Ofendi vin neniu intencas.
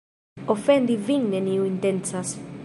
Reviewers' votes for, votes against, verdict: 4, 0, accepted